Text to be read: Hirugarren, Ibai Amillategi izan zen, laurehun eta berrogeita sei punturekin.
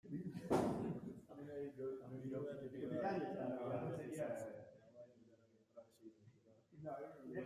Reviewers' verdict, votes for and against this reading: rejected, 0, 2